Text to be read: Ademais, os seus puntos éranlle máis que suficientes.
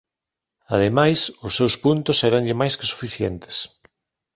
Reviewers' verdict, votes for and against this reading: accepted, 2, 0